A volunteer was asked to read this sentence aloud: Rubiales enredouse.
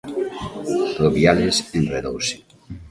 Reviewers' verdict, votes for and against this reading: accepted, 2, 0